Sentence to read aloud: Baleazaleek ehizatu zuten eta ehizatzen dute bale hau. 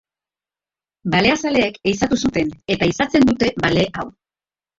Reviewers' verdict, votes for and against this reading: rejected, 2, 2